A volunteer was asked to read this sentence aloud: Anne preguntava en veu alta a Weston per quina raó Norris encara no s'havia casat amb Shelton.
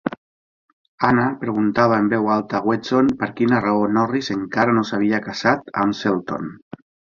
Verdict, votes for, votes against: rejected, 1, 3